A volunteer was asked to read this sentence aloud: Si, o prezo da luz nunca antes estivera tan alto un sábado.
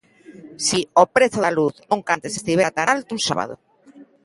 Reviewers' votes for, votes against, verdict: 2, 0, accepted